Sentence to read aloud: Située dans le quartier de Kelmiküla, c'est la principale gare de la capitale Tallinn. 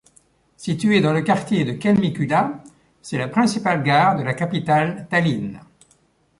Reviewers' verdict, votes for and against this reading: accepted, 2, 0